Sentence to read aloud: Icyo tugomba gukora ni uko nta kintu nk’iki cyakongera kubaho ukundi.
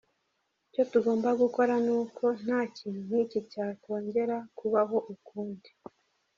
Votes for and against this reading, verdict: 1, 2, rejected